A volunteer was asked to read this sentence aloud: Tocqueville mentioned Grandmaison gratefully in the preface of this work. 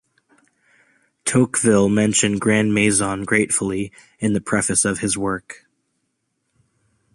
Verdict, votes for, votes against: rejected, 1, 2